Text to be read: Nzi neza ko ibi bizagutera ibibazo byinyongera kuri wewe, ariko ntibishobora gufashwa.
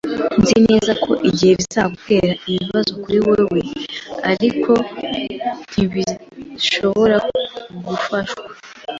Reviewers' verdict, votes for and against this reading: rejected, 1, 2